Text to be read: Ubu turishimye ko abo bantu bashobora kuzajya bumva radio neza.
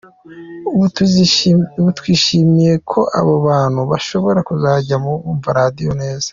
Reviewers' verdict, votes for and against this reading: rejected, 1, 2